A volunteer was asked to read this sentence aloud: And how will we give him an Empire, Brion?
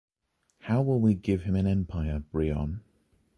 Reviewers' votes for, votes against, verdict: 0, 3, rejected